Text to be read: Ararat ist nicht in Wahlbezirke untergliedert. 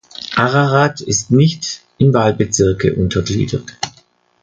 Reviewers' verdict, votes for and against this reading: accepted, 2, 0